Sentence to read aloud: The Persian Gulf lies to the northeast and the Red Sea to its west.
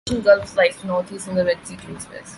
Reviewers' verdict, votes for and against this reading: rejected, 0, 2